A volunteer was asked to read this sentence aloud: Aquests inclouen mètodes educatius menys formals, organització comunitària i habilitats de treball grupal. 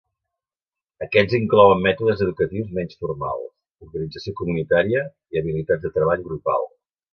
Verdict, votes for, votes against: accepted, 3, 0